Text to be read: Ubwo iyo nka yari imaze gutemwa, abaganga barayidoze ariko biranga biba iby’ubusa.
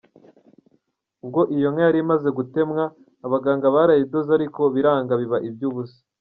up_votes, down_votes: 1, 2